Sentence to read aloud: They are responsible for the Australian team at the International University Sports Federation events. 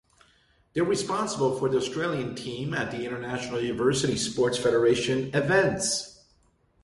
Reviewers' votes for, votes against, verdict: 2, 0, accepted